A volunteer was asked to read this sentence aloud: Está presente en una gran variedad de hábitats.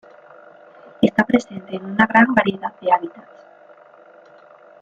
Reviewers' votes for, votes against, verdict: 2, 0, accepted